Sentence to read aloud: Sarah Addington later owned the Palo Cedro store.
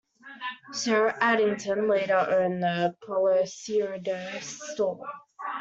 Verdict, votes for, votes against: rejected, 0, 2